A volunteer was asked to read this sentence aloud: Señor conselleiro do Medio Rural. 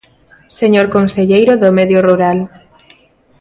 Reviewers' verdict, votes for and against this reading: accepted, 2, 0